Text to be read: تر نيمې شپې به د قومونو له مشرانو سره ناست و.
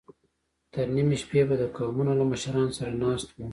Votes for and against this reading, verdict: 2, 0, accepted